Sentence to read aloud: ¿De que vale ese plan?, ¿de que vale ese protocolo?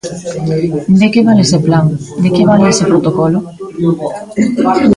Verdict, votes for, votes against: rejected, 0, 2